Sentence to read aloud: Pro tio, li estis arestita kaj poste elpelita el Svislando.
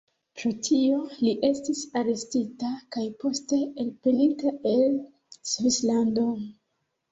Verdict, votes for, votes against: accepted, 2, 1